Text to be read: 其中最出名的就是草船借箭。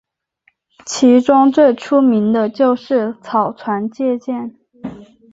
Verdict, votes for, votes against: accepted, 2, 0